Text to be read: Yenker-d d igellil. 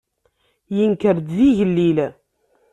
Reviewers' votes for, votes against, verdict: 2, 0, accepted